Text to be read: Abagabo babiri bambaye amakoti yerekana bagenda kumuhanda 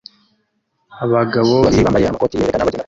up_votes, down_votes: 0, 2